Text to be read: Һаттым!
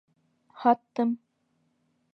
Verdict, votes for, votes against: accepted, 2, 0